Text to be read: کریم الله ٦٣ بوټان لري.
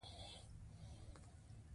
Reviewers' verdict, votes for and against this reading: rejected, 0, 2